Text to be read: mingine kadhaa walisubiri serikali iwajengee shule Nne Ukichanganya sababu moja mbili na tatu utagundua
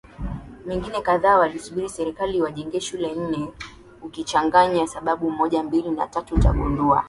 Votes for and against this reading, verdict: 9, 1, accepted